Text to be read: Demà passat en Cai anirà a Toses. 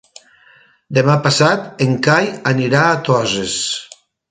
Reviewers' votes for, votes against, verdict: 2, 0, accepted